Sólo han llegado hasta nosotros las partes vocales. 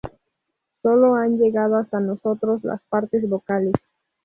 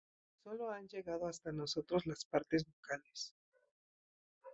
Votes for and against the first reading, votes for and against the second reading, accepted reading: 2, 2, 2, 0, second